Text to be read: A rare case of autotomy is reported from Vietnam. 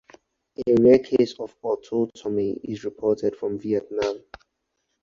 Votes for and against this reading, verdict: 4, 0, accepted